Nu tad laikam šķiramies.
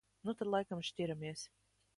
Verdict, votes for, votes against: accepted, 2, 0